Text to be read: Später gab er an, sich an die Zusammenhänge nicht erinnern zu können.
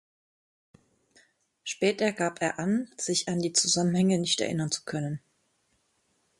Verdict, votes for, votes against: accepted, 3, 0